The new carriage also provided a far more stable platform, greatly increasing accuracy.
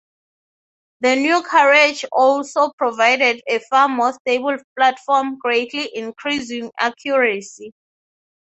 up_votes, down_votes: 6, 0